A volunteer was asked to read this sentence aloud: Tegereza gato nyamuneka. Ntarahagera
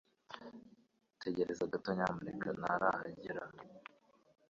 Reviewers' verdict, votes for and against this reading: accepted, 2, 0